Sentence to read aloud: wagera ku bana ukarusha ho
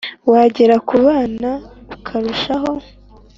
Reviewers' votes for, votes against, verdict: 2, 0, accepted